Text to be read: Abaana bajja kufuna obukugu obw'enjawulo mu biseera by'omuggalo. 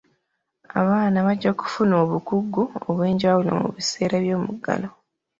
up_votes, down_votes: 2, 0